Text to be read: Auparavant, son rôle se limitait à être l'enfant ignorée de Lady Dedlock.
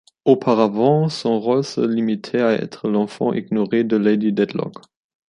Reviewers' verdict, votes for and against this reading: accepted, 2, 0